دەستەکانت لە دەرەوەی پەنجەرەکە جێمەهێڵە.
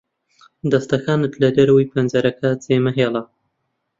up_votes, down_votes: 2, 0